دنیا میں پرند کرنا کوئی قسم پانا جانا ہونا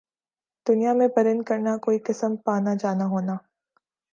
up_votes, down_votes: 2, 0